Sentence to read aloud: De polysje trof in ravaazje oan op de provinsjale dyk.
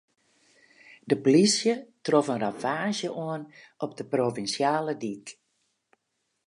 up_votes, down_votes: 2, 2